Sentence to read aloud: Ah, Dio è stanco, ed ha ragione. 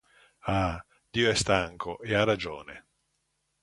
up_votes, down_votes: 1, 2